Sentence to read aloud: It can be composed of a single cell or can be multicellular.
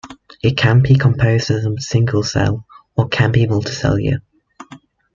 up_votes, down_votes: 1, 2